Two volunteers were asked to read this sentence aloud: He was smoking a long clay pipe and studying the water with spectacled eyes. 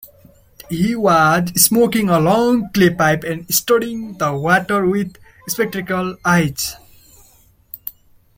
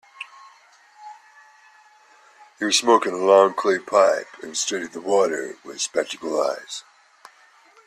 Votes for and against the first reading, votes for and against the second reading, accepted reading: 2, 0, 1, 2, first